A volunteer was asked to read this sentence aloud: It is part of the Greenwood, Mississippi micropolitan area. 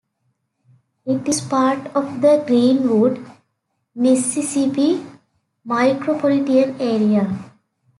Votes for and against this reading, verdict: 2, 0, accepted